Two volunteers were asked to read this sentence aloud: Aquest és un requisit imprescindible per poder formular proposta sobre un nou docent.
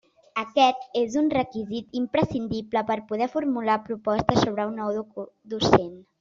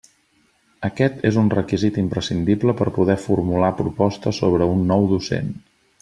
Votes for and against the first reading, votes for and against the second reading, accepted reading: 0, 2, 2, 0, second